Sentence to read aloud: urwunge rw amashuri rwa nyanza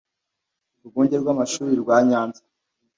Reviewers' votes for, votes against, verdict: 2, 0, accepted